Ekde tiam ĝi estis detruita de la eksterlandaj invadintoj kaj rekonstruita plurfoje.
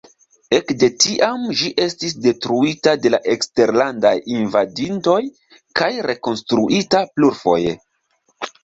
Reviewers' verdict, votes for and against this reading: rejected, 1, 2